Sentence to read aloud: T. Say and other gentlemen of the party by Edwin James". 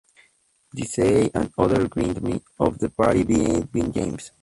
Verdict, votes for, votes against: rejected, 0, 2